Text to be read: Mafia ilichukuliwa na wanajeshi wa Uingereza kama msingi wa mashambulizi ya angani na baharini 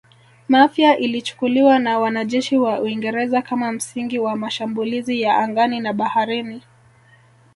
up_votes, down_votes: 2, 0